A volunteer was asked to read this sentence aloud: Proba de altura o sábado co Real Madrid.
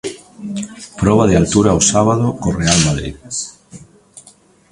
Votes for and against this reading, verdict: 2, 0, accepted